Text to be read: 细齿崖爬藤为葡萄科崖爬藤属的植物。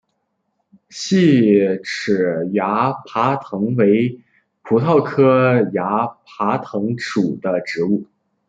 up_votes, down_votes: 3, 2